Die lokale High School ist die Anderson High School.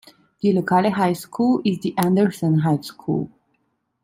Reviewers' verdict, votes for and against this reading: accepted, 2, 0